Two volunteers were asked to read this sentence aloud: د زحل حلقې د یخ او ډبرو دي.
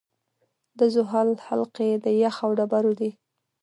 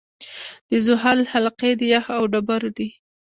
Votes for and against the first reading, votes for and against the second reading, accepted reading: 0, 2, 2, 0, second